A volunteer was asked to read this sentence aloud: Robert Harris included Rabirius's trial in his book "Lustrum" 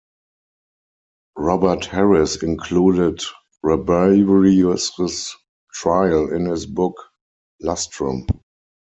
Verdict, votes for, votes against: rejected, 2, 4